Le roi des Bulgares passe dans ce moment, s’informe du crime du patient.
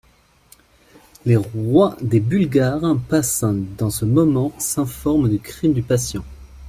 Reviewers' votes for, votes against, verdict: 0, 2, rejected